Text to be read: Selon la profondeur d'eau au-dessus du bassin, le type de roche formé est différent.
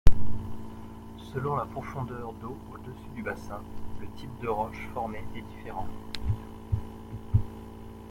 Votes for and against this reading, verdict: 1, 2, rejected